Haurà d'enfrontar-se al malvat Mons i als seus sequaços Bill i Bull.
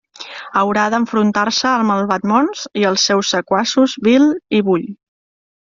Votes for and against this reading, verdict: 2, 0, accepted